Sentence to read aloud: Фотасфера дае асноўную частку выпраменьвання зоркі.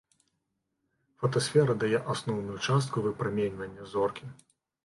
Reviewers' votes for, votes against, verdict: 2, 0, accepted